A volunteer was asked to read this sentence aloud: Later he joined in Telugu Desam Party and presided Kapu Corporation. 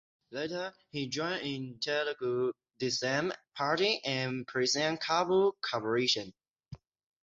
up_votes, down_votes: 3, 0